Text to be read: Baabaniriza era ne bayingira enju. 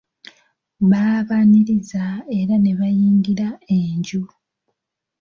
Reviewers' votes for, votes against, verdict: 2, 0, accepted